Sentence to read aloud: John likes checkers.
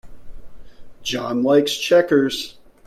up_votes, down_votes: 2, 0